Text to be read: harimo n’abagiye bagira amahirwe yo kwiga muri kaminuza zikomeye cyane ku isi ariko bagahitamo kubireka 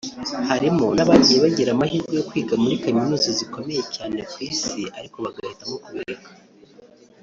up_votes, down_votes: 2, 0